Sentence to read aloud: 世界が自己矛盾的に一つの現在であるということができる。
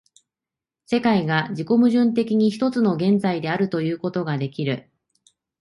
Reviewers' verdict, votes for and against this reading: accepted, 2, 1